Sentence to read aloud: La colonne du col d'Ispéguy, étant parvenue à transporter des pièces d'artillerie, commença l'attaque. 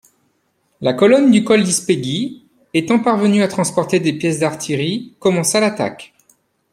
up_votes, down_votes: 2, 0